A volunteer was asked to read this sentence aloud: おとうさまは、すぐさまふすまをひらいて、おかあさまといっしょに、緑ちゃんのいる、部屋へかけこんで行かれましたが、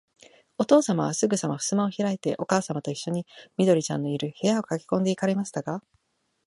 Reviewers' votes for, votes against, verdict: 1, 2, rejected